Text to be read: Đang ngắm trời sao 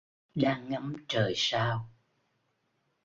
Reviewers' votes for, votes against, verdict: 2, 1, accepted